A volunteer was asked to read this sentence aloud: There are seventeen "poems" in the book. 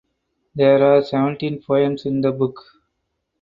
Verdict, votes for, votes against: accepted, 4, 0